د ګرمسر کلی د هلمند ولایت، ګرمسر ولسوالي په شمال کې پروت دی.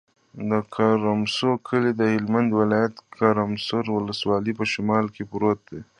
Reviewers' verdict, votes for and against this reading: rejected, 0, 2